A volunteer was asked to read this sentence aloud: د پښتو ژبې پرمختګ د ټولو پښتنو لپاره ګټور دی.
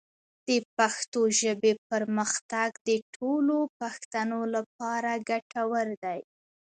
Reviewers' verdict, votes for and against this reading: accepted, 2, 0